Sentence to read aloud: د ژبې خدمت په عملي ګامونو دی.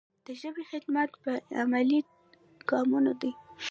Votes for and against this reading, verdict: 1, 2, rejected